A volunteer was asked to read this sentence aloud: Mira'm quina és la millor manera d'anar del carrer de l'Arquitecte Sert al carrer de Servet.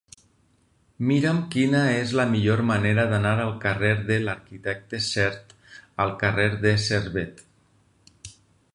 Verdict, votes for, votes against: rejected, 2, 4